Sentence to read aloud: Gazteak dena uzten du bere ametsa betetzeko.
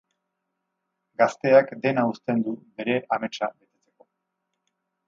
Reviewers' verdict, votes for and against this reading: accepted, 4, 0